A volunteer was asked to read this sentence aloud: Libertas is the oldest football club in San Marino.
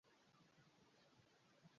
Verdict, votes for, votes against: rejected, 0, 2